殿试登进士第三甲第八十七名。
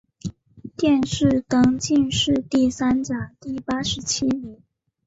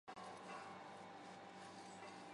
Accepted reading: first